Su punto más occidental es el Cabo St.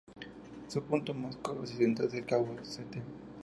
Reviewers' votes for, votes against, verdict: 0, 2, rejected